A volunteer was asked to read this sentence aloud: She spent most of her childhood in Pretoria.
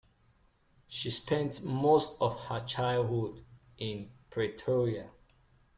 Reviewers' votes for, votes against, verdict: 2, 0, accepted